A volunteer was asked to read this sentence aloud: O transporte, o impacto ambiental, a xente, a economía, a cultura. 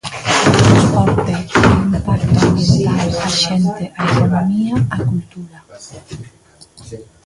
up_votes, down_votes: 0, 2